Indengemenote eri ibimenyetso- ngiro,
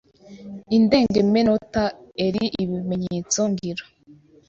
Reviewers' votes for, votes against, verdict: 1, 2, rejected